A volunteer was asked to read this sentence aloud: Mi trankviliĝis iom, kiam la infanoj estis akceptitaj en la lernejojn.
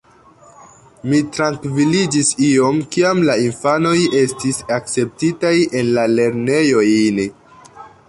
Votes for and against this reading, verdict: 1, 2, rejected